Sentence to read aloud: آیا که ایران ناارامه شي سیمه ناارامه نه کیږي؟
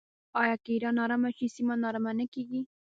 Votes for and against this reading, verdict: 1, 2, rejected